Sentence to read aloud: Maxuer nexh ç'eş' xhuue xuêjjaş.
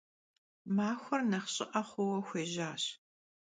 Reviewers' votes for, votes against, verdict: 0, 2, rejected